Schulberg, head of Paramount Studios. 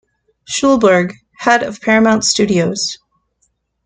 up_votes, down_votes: 2, 0